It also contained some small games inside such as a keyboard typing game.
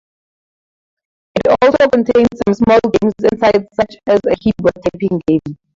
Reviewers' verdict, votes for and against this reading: rejected, 0, 4